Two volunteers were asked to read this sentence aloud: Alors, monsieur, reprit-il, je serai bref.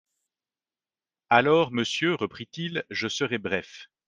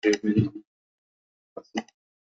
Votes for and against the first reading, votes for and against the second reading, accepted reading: 3, 0, 0, 2, first